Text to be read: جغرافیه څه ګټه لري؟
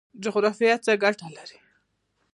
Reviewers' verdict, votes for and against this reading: rejected, 0, 2